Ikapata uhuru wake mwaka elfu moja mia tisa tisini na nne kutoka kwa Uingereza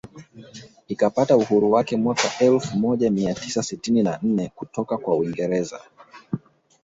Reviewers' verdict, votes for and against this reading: rejected, 1, 2